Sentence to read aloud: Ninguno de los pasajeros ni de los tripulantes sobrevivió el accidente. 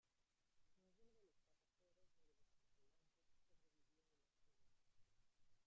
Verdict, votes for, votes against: rejected, 0, 2